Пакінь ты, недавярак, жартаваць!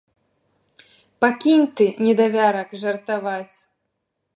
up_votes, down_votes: 2, 0